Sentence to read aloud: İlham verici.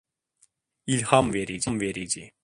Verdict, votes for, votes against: rejected, 1, 2